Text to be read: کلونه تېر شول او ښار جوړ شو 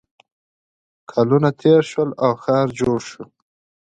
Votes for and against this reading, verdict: 2, 0, accepted